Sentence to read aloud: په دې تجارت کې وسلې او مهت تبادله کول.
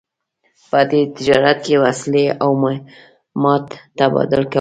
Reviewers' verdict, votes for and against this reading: accepted, 2, 0